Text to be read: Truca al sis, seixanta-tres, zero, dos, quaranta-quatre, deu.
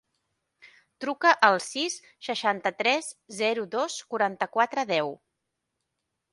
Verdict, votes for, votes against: accepted, 3, 0